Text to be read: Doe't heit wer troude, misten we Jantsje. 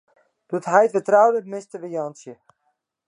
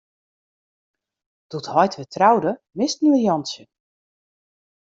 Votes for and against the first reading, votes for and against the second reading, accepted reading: 0, 2, 2, 0, second